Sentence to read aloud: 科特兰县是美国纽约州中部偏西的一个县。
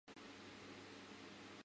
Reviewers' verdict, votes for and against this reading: rejected, 0, 2